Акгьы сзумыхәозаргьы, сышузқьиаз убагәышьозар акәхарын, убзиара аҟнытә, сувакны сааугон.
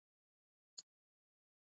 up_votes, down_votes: 0, 2